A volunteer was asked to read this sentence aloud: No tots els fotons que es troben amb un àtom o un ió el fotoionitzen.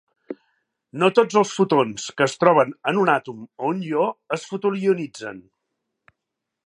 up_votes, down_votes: 3, 2